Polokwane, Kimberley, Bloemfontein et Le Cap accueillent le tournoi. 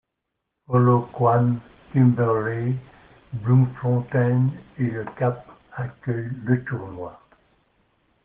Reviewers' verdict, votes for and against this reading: rejected, 1, 2